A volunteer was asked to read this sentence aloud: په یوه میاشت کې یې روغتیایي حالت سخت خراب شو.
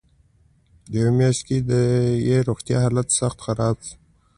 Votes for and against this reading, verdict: 2, 1, accepted